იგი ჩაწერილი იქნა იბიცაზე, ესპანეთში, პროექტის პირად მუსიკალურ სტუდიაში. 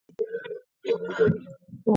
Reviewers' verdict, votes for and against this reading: rejected, 0, 2